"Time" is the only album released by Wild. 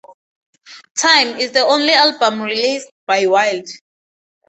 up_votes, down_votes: 4, 0